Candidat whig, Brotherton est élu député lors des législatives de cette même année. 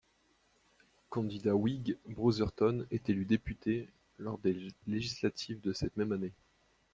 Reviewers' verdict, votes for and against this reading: rejected, 1, 2